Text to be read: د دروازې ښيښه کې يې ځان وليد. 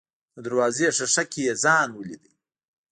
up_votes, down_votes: 1, 2